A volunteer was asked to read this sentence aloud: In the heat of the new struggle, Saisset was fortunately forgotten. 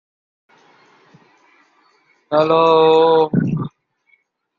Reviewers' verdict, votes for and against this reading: rejected, 0, 2